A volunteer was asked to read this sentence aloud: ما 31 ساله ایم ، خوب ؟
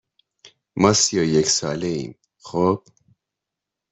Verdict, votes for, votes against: rejected, 0, 2